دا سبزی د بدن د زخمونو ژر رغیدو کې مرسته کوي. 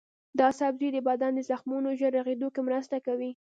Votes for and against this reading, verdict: 0, 2, rejected